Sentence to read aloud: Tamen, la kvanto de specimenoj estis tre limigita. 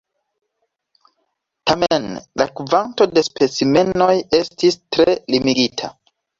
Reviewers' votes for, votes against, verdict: 2, 0, accepted